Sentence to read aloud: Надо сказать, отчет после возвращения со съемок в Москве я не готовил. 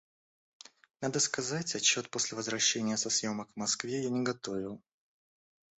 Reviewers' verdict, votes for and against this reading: accepted, 2, 0